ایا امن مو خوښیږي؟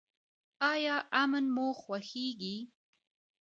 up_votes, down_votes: 2, 1